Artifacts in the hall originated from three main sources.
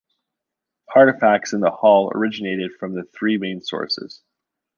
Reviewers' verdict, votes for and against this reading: rejected, 0, 2